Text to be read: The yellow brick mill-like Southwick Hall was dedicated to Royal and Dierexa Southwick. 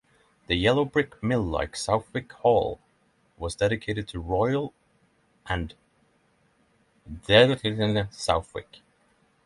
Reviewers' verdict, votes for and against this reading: rejected, 0, 3